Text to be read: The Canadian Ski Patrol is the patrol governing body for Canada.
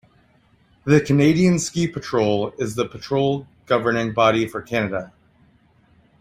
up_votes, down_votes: 2, 0